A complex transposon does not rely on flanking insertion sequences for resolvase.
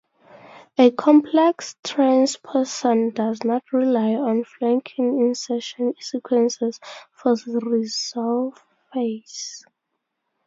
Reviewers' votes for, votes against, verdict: 0, 2, rejected